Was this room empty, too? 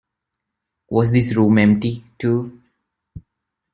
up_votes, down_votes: 2, 0